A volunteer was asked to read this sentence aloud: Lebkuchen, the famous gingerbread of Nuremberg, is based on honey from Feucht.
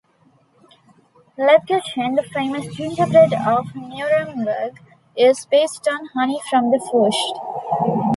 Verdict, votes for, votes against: rejected, 0, 2